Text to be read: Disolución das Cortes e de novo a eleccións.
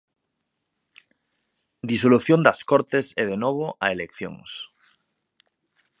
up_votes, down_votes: 2, 0